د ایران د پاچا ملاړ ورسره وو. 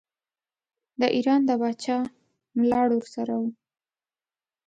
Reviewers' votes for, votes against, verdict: 2, 0, accepted